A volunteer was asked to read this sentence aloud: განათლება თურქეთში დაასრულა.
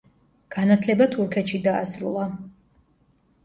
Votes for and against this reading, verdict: 2, 0, accepted